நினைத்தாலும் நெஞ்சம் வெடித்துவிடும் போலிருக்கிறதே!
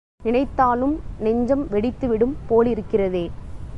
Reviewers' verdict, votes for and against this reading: accepted, 2, 0